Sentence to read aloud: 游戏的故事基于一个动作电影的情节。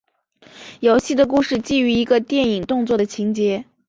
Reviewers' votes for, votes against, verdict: 2, 0, accepted